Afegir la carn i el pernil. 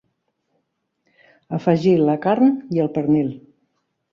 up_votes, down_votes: 4, 0